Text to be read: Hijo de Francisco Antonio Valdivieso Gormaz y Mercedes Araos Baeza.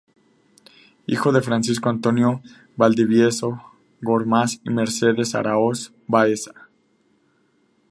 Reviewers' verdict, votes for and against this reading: accepted, 2, 0